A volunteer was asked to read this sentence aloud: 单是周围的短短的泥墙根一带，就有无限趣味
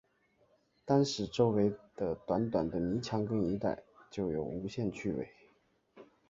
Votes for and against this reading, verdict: 0, 2, rejected